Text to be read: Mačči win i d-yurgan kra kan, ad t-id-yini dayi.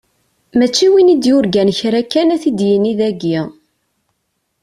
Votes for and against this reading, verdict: 2, 0, accepted